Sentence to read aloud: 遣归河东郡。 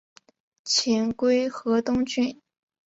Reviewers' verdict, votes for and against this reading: accepted, 2, 0